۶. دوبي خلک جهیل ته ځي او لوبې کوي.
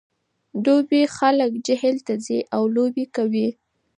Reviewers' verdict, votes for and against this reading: rejected, 0, 2